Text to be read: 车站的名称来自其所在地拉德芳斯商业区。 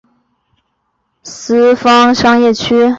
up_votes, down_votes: 1, 2